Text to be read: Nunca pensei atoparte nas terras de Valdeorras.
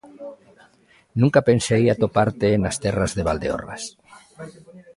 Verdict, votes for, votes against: rejected, 0, 2